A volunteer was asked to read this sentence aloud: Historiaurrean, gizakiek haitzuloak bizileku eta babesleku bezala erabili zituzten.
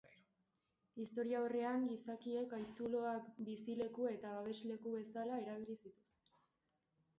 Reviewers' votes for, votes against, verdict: 1, 2, rejected